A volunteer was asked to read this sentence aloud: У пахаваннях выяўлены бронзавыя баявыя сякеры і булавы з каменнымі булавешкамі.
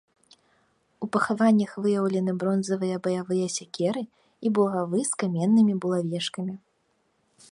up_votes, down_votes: 0, 2